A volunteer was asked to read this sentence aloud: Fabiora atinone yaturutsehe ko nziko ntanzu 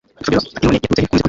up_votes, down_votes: 0, 2